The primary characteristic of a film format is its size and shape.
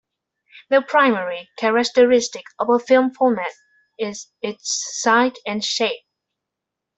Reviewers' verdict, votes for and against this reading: rejected, 0, 2